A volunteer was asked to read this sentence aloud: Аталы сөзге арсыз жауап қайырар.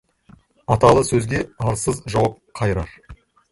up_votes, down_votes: 0, 2